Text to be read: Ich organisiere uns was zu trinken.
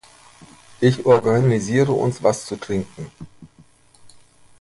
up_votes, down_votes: 2, 0